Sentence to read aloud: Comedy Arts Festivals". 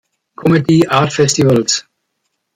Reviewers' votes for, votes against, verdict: 1, 2, rejected